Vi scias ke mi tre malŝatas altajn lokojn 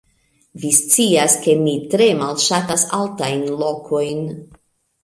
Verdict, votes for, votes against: accepted, 2, 0